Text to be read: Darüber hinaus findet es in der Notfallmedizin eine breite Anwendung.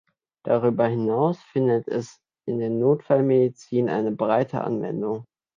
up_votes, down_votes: 2, 0